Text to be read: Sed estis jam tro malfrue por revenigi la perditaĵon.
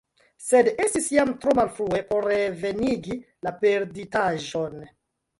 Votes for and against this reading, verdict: 0, 2, rejected